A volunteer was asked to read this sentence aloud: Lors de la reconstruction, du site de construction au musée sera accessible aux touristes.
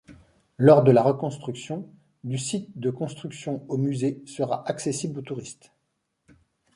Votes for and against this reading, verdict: 2, 0, accepted